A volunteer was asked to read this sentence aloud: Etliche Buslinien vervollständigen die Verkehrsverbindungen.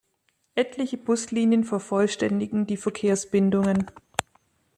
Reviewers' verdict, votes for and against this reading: rejected, 1, 2